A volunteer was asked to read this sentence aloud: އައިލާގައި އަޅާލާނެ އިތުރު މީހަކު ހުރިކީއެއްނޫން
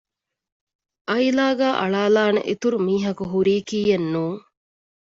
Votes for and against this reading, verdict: 1, 2, rejected